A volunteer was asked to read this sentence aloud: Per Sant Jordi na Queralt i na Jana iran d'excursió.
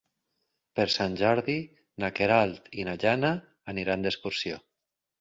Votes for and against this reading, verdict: 2, 6, rejected